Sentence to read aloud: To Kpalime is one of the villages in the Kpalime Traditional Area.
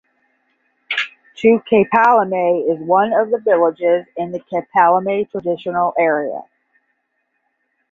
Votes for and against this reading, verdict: 10, 0, accepted